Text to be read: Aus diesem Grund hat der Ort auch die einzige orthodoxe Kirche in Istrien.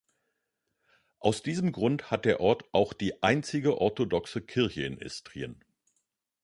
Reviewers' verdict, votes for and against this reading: accepted, 2, 1